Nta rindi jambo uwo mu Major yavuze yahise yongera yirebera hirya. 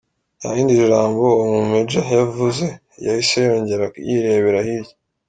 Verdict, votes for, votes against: accepted, 2, 0